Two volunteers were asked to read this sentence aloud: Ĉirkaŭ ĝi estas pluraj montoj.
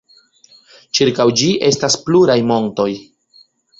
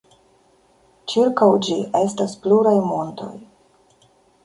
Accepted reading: first